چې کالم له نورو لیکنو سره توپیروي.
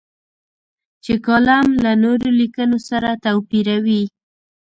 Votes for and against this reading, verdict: 1, 2, rejected